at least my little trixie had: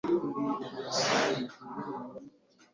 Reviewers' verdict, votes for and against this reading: rejected, 0, 2